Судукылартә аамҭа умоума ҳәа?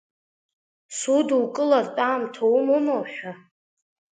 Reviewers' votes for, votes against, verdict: 3, 2, accepted